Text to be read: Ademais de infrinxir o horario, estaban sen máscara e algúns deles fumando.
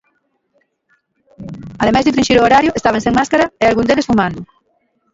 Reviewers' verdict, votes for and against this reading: rejected, 1, 2